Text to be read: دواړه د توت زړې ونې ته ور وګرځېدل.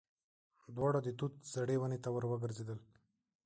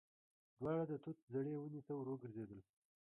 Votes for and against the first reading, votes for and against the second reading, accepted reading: 2, 1, 1, 3, first